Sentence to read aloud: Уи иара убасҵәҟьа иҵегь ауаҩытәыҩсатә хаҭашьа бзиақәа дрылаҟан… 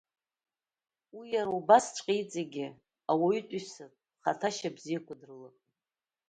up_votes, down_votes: 2, 1